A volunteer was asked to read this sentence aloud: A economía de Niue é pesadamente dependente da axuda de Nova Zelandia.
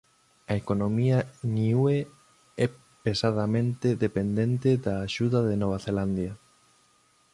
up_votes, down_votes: 0, 2